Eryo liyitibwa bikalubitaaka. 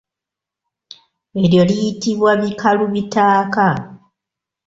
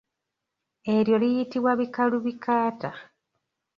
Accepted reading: first